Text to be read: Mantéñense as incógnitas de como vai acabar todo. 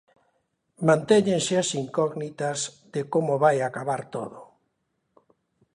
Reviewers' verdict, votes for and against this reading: accepted, 2, 0